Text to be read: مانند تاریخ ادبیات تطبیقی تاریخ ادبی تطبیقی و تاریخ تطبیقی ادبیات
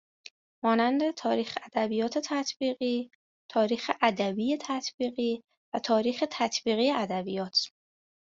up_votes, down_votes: 2, 0